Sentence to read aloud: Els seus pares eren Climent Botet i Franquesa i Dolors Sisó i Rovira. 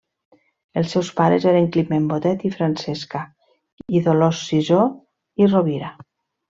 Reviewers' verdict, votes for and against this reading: rejected, 0, 2